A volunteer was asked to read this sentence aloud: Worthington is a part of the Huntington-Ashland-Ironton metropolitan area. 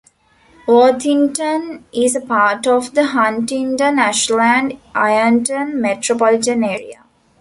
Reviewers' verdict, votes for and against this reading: accepted, 2, 0